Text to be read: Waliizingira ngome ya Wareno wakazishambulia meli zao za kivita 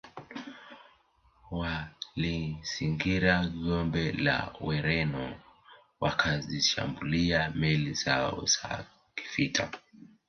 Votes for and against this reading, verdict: 0, 3, rejected